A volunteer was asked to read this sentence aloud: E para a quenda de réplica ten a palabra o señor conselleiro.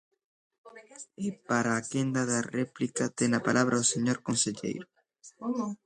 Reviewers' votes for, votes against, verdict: 0, 2, rejected